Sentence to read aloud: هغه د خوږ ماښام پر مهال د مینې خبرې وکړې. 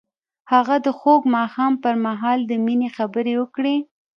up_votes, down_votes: 0, 2